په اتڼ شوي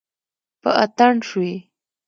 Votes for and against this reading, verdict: 2, 0, accepted